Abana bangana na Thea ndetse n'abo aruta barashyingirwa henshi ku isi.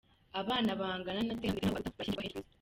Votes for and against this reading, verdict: 1, 2, rejected